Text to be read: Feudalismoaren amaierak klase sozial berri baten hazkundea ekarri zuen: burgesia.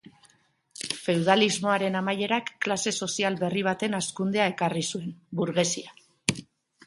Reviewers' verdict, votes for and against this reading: accepted, 3, 0